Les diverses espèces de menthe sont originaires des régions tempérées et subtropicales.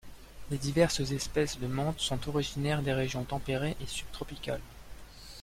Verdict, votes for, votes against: accepted, 2, 0